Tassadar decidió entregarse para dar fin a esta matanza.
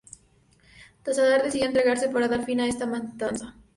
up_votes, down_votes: 2, 0